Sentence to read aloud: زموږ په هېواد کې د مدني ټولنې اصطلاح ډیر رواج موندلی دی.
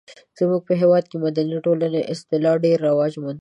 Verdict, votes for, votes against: accepted, 2, 0